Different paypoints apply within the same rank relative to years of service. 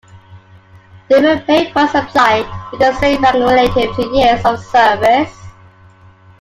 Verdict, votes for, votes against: rejected, 0, 2